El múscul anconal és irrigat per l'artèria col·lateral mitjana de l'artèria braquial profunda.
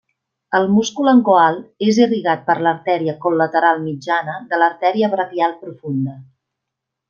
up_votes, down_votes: 1, 2